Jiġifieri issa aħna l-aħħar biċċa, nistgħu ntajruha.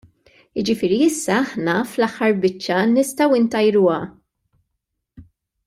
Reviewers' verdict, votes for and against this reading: rejected, 0, 2